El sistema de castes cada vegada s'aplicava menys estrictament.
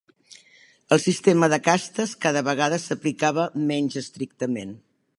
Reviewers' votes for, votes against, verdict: 3, 0, accepted